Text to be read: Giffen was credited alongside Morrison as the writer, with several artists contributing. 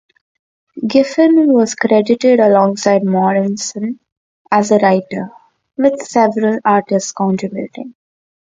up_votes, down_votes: 2, 0